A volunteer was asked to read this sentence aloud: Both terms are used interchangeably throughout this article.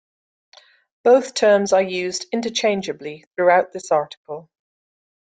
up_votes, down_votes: 2, 0